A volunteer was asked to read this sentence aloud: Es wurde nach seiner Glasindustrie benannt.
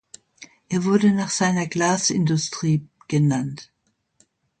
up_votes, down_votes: 0, 2